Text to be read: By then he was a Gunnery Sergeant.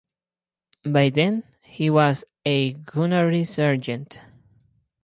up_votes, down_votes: 4, 0